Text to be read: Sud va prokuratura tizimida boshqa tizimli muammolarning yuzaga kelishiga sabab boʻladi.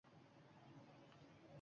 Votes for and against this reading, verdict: 1, 2, rejected